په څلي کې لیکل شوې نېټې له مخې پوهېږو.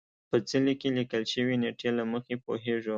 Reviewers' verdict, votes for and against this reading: accepted, 3, 0